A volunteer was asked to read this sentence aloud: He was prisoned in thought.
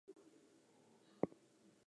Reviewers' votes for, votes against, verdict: 0, 2, rejected